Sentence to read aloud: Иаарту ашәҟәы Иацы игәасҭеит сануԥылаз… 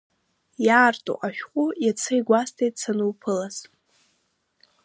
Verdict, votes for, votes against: accepted, 2, 1